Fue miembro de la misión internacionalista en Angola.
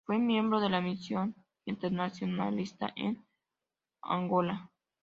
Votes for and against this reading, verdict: 2, 0, accepted